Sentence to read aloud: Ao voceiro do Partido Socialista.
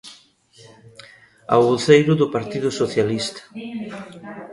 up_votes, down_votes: 1, 2